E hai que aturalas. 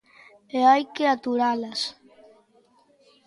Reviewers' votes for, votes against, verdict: 2, 0, accepted